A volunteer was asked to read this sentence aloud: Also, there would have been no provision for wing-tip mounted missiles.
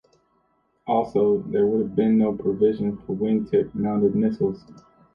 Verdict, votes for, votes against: rejected, 1, 2